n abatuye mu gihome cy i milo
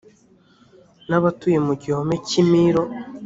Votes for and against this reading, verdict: 2, 0, accepted